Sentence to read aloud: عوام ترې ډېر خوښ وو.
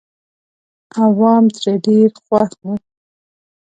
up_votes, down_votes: 2, 0